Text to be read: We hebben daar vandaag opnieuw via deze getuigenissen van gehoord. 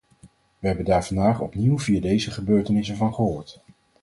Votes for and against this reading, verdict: 0, 4, rejected